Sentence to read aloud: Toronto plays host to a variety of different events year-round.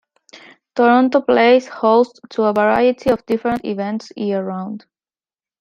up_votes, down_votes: 2, 1